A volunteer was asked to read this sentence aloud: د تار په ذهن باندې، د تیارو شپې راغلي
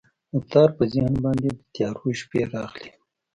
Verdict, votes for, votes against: accepted, 2, 0